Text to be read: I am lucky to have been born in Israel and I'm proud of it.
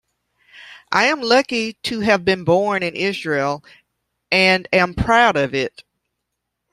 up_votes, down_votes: 1, 2